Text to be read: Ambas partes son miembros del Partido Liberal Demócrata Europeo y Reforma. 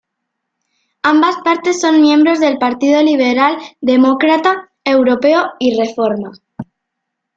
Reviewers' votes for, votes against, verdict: 2, 0, accepted